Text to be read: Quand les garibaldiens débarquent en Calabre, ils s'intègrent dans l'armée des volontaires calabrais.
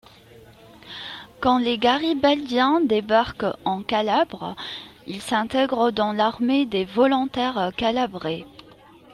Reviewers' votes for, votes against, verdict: 2, 0, accepted